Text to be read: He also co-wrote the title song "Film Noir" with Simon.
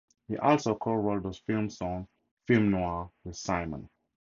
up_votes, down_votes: 2, 2